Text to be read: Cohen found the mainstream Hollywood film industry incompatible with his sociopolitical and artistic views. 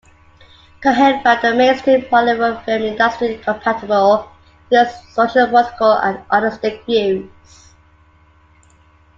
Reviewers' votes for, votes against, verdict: 2, 1, accepted